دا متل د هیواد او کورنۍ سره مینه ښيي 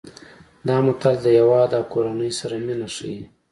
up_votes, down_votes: 2, 0